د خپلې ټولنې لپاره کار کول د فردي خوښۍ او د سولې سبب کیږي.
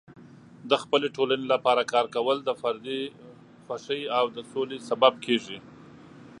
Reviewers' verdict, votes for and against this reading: accepted, 2, 0